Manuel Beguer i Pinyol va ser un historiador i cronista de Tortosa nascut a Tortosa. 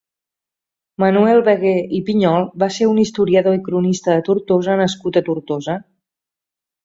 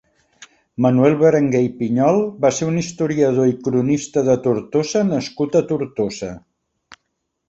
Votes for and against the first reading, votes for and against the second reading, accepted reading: 3, 0, 0, 3, first